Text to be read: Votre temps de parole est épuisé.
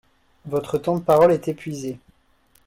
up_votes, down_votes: 2, 0